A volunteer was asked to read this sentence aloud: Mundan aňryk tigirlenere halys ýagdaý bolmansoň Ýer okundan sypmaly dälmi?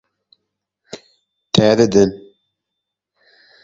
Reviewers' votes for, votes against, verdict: 0, 2, rejected